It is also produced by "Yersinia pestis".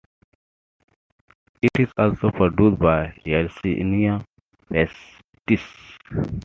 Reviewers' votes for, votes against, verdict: 2, 1, accepted